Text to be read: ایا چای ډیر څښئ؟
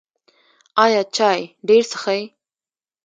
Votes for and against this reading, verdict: 1, 2, rejected